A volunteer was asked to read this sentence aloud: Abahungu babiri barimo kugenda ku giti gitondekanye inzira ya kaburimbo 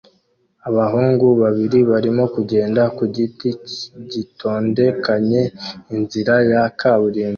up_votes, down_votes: 1, 2